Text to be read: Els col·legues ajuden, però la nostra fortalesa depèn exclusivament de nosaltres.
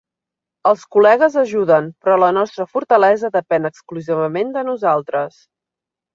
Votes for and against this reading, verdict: 5, 0, accepted